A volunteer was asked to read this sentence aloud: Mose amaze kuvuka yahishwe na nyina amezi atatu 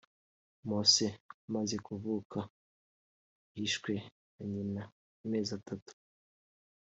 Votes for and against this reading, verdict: 0, 2, rejected